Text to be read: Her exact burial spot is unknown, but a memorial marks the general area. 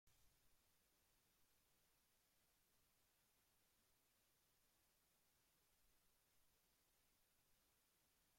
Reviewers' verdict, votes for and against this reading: rejected, 0, 2